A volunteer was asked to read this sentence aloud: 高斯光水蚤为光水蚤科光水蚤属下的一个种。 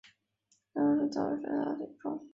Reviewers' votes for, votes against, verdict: 2, 4, rejected